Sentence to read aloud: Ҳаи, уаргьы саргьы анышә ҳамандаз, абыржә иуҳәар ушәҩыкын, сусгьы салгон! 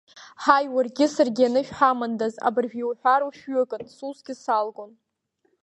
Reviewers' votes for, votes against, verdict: 3, 0, accepted